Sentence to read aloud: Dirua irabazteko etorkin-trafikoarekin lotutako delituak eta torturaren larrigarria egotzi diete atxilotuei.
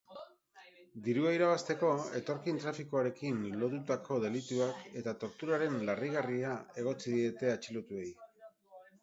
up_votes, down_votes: 4, 2